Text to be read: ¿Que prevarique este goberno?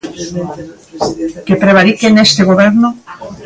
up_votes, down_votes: 1, 2